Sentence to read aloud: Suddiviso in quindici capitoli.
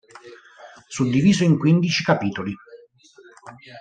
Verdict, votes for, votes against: accepted, 4, 0